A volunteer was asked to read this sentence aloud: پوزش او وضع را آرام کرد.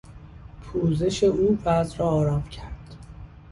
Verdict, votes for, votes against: accepted, 2, 0